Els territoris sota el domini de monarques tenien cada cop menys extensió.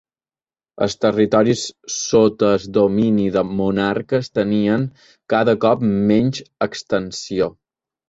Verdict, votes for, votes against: rejected, 1, 2